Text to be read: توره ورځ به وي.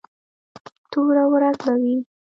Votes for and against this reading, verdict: 1, 2, rejected